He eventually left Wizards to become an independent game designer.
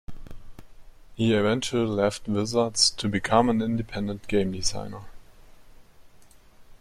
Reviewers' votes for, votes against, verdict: 2, 0, accepted